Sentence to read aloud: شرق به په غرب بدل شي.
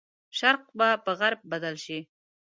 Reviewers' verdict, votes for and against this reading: accepted, 2, 0